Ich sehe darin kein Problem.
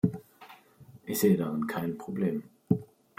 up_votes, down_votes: 2, 0